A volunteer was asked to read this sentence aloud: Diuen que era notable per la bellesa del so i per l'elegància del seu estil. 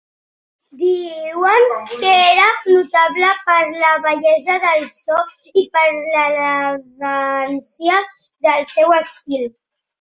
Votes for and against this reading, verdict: 2, 1, accepted